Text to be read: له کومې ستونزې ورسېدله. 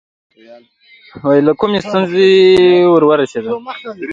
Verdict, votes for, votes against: rejected, 0, 2